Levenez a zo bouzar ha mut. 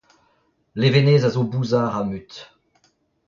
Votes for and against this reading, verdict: 0, 2, rejected